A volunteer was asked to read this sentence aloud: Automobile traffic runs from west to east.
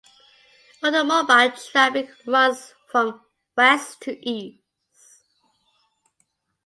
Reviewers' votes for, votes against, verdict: 2, 0, accepted